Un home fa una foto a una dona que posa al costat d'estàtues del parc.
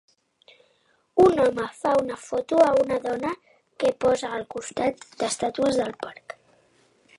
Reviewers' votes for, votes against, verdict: 0, 2, rejected